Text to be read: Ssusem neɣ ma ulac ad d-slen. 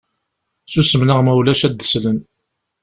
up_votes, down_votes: 2, 0